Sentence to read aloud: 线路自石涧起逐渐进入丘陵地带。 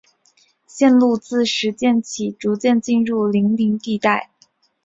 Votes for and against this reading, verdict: 4, 0, accepted